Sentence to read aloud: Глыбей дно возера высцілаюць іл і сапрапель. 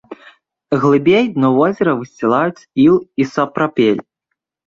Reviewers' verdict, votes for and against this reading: accepted, 2, 0